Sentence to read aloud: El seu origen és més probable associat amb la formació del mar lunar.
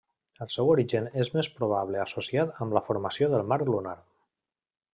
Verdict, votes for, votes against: accepted, 3, 0